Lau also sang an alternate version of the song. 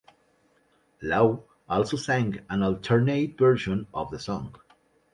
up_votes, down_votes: 2, 0